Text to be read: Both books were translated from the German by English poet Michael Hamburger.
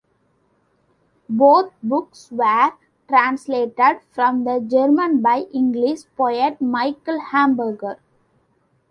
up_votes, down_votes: 2, 0